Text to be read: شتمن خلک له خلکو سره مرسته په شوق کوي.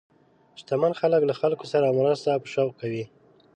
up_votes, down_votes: 3, 0